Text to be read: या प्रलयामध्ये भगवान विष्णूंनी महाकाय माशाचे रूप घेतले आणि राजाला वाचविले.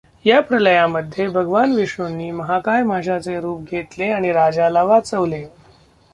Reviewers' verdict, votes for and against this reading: rejected, 0, 2